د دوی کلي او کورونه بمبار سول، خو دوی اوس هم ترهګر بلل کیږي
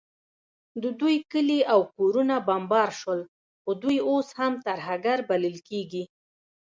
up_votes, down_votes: 2, 1